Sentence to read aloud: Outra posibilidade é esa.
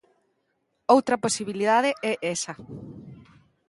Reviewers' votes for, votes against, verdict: 2, 0, accepted